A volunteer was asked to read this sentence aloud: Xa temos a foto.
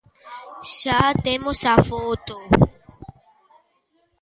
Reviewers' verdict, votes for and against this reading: accepted, 2, 0